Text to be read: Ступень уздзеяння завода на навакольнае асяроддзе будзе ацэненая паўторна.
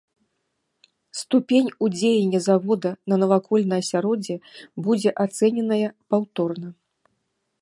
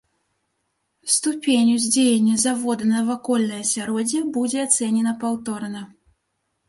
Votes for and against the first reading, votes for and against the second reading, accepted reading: 2, 1, 1, 2, first